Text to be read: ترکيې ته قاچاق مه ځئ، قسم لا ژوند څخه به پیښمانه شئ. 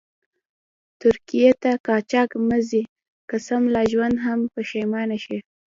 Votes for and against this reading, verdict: 1, 2, rejected